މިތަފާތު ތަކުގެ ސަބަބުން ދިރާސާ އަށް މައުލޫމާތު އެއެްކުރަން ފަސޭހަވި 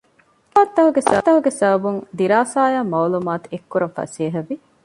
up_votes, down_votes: 0, 2